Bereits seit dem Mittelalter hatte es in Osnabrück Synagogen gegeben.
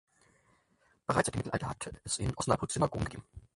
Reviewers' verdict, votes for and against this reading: rejected, 0, 4